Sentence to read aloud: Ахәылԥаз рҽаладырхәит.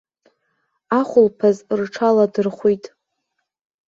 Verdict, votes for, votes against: accepted, 2, 0